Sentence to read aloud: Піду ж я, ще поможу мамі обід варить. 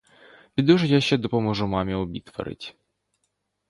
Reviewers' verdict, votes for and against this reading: accepted, 2, 0